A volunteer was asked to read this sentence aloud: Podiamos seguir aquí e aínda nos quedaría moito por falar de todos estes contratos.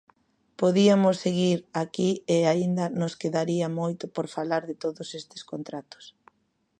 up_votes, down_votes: 1, 2